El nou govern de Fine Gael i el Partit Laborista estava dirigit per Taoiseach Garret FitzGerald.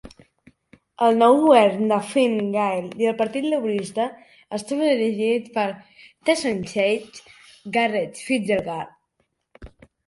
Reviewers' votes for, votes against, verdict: 0, 2, rejected